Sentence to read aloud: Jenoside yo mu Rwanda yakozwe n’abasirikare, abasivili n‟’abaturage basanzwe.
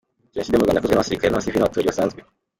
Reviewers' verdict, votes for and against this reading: rejected, 0, 2